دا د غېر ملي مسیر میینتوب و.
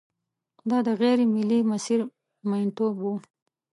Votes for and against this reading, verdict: 5, 1, accepted